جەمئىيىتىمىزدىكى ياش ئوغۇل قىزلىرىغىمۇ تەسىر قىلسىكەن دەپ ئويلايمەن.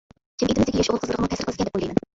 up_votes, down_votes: 0, 2